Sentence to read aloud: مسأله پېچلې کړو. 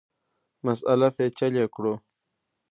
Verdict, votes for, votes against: rejected, 0, 2